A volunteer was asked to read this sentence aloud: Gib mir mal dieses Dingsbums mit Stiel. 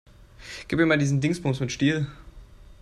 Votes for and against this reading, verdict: 1, 2, rejected